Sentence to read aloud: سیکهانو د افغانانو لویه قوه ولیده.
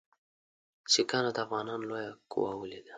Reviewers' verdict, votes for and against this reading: accepted, 2, 0